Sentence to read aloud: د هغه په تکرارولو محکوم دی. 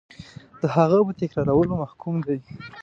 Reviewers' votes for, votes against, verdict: 0, 2, rejected